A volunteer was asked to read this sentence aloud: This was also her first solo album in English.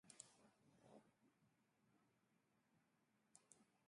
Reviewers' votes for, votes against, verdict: 0, 2, rejected